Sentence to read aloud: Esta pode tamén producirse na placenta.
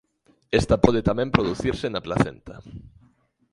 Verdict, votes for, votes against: accepted, 2, 1